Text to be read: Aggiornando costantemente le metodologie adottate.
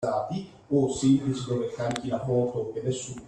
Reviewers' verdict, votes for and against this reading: rejected, 0, 2